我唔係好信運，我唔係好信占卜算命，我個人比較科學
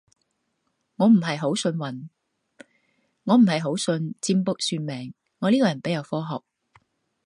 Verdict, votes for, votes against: rejected, 0, 2